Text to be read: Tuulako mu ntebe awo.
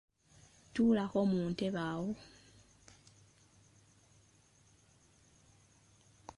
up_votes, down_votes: 2, 0